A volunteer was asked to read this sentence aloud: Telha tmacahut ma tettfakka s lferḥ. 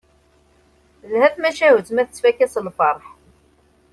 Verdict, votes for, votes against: accepted, 2, 0